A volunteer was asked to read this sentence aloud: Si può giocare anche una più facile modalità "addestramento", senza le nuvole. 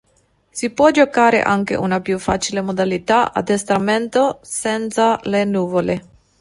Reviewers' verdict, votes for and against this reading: accepted, 2, 0